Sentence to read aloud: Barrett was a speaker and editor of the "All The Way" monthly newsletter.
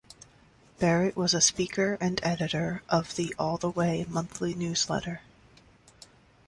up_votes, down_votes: 3, 0